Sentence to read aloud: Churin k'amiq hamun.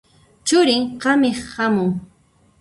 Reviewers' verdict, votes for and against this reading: rejected, 0, 2